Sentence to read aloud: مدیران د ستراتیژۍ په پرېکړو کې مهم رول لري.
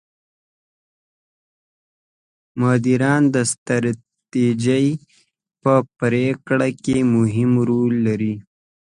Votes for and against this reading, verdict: 2, 1, accepted